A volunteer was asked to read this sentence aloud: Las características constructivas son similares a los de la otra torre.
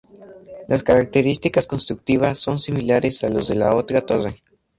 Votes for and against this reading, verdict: 4, 0, accepted